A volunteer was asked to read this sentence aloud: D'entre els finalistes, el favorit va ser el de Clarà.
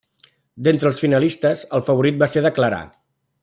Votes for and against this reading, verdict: 1, 2, rejected